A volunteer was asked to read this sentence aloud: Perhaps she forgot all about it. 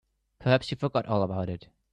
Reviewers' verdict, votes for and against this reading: accepted, 2, 1